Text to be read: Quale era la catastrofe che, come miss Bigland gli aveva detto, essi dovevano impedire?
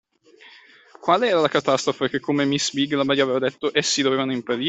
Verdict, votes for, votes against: rejected, 0, 2